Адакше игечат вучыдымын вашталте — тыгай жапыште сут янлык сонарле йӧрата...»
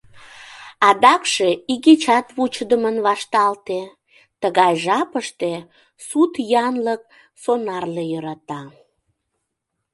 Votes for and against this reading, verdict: 2, 0, accepted